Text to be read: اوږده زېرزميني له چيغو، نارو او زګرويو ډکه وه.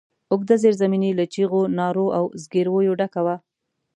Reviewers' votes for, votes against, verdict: 2, 0, accepted